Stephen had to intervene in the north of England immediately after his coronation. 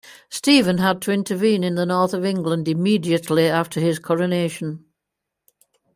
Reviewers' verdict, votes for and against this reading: accepted, 2, 0